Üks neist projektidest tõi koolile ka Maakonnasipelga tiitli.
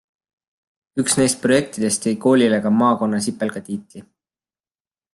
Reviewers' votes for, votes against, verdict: 2, 0, accepted